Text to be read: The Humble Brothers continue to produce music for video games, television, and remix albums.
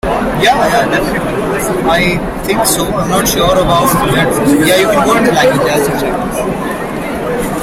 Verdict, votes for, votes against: rejected, 0, 3